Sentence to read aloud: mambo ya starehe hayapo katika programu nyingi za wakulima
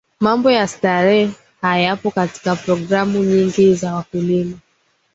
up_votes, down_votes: 2, 0